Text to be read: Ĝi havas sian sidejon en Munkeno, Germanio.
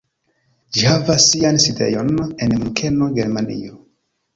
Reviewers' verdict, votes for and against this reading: rejected, 0, 2